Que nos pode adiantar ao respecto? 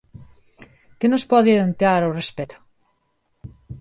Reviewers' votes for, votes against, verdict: 2, 1, accepted